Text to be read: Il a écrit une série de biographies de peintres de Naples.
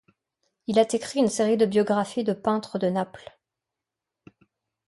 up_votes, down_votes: 0, 2